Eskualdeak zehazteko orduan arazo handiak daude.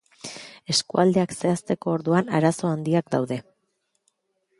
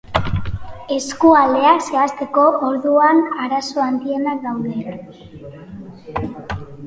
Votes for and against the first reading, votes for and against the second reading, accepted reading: 2, 0, 1, 4, first